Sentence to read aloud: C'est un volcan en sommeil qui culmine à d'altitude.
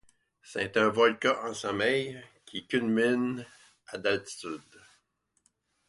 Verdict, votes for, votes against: accepted, 2, 0